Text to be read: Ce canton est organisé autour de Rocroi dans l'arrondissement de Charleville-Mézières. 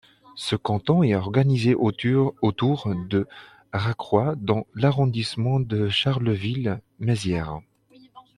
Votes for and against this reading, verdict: 0, 2, rejected